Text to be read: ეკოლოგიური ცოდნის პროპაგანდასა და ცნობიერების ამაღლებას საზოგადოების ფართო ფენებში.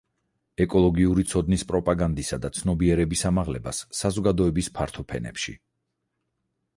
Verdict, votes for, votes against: rejected, 2, 4